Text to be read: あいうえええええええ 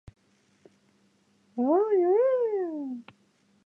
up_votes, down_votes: 1, 2